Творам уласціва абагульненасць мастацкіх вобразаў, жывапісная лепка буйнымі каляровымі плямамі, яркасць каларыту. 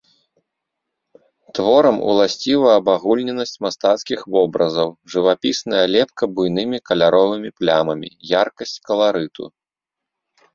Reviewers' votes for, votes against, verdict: 2, 0, accepted